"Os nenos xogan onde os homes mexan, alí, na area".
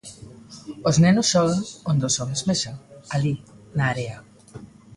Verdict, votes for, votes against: accepted, 2, 0